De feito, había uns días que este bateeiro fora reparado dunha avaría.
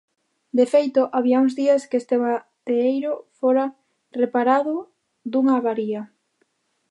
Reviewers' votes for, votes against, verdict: 0, 2, rejected